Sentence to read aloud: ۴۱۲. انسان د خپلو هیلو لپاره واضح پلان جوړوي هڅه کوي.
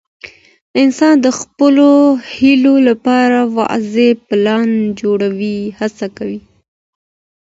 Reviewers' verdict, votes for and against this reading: rejected, 0, 2